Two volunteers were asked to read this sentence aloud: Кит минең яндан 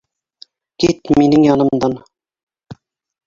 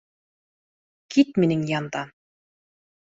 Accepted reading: second